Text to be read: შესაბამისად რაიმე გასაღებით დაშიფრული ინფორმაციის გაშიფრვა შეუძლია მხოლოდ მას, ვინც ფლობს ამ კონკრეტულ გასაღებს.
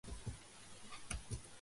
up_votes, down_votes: 0, 2